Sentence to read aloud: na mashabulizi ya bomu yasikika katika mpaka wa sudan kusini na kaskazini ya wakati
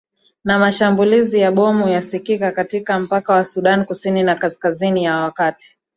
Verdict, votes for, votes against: rejected, 0, 2